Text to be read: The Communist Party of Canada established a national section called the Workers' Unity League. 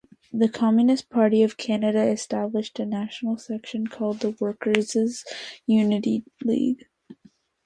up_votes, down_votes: 0, 2